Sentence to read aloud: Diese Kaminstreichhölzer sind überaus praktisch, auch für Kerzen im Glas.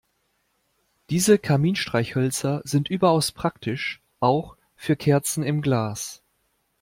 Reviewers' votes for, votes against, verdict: 2, 0, accepted